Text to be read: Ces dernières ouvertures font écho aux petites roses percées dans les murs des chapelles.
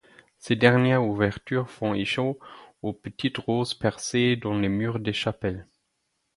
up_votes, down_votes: 0, 4